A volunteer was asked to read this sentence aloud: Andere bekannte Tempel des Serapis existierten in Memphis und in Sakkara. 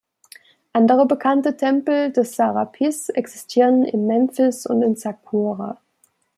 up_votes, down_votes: 0, 2